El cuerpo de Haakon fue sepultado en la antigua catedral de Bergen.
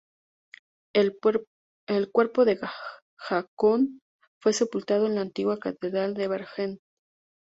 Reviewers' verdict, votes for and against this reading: rejected, 0, 2